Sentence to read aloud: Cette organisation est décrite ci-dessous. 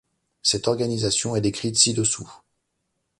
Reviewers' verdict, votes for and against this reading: accepted, 2, 0